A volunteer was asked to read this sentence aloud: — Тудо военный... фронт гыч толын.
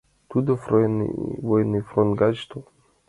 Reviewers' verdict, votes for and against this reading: rejected, 0, 2